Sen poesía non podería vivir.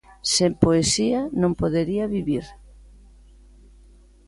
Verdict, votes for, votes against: accepted, 2, 0